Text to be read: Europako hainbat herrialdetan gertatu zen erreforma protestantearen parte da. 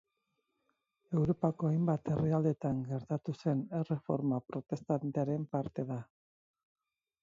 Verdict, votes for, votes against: rejected, 2, 4